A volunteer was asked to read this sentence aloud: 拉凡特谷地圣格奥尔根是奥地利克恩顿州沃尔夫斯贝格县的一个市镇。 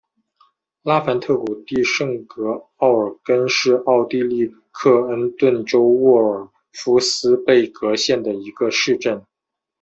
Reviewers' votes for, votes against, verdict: 2, 0, accepted